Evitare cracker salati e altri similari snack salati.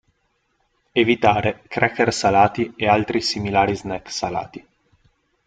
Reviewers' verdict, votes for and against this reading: accepted, 2, 0